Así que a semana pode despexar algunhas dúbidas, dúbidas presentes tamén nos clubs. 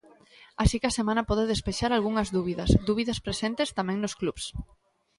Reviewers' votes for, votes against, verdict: 1, 2, rejected